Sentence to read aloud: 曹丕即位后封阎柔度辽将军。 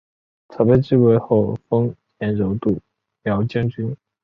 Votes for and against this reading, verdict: 0, 2, rejected